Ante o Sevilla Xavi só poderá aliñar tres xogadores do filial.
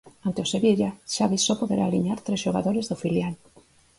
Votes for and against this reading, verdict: 4, 0, accepted